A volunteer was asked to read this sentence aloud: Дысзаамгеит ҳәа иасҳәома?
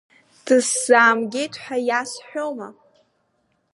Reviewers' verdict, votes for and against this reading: accepted, 3, 0